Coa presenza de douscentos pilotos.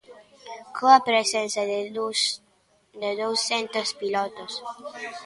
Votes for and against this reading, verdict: 0, 2, rejected